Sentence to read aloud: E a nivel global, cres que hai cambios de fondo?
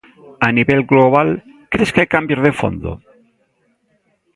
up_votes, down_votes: 1, 2